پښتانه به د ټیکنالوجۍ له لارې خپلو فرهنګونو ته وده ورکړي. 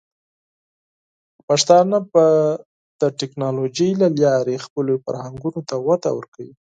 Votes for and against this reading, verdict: 4, 0, accepted